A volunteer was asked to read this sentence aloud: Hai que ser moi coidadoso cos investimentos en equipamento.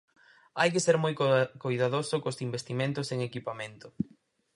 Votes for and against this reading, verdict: 0, 4, rejected